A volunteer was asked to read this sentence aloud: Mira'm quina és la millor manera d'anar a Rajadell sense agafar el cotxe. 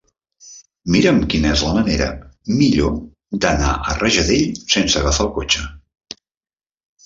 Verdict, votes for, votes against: accepted, 3, 1